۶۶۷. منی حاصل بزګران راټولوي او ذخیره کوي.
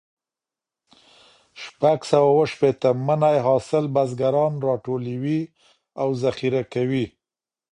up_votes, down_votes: 0, 2